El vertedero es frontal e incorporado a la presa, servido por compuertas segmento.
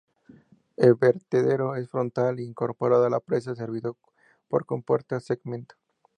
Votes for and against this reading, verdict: 2, 0, accepted